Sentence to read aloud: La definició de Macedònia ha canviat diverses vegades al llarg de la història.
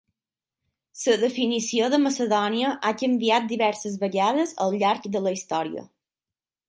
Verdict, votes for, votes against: accepted, 6, 3